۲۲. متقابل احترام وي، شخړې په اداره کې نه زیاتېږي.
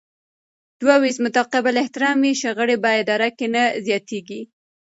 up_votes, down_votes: 0, 2